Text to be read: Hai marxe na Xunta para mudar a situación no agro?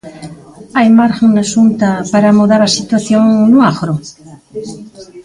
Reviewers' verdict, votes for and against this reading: rejected, 0, 3